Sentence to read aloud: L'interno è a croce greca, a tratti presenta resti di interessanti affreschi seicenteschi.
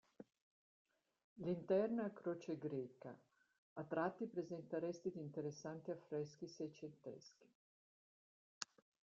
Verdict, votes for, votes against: rejected, 0, 2